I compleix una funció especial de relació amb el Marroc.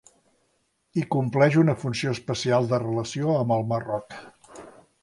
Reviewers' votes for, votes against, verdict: 2, 0, accepted